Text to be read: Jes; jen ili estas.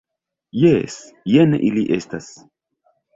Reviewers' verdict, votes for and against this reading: accepted, 2, 0